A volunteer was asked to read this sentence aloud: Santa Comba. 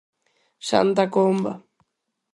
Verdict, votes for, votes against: accepted, 4, 0